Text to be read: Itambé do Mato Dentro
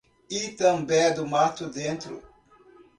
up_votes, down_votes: 2, 0